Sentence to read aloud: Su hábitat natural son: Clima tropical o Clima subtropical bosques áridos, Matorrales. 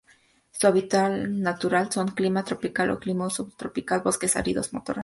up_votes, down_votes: 0, 2